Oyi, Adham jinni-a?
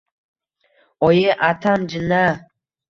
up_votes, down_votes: 2, 2